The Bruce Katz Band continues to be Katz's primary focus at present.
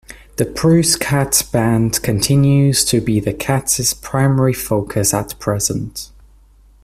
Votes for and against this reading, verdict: 1, 2, rejected